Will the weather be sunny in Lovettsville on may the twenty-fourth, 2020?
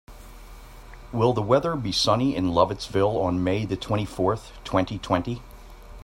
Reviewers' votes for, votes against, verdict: 0, 2, rejected